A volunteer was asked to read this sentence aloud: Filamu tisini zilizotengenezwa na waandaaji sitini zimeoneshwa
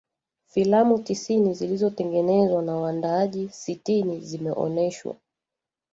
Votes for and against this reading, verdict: 1, 2, rejected